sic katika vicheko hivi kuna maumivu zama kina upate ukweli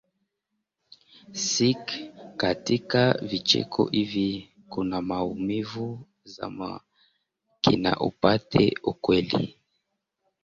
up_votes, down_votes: 0, 2